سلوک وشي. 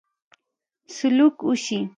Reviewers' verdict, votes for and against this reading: accepted, 2, 1